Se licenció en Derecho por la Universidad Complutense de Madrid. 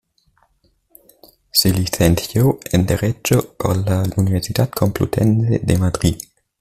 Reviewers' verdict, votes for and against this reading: rejected, 1, 2